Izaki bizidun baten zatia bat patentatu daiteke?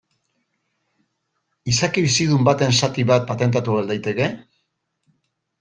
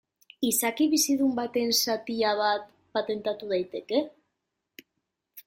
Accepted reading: second